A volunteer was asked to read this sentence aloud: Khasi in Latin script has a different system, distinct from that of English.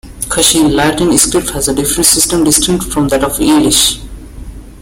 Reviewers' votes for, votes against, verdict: 1, 2, rejected